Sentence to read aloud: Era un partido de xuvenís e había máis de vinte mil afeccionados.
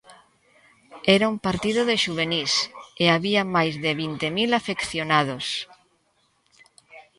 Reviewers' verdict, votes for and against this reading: rejected, 1, 2